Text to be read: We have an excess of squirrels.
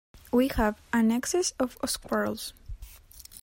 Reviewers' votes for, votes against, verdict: 2, 0, accepted